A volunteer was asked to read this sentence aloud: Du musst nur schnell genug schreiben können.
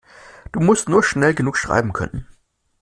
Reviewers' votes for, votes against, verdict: 2, 0, accepted